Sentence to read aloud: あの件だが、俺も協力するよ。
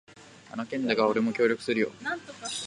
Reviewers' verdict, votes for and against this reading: rejected, 1, 2